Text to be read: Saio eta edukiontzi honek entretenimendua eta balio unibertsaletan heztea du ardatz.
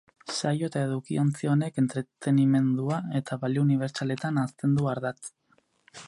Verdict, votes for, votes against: rejected, 2, 4